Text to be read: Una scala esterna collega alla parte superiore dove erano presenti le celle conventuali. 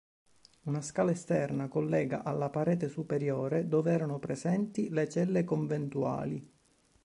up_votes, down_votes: 0, 2